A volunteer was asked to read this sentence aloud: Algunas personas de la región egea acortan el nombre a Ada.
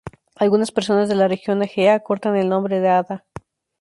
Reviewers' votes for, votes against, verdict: 0, 2, rejected